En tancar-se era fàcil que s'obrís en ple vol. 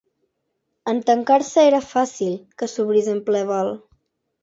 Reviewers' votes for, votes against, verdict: 2, 0, accepted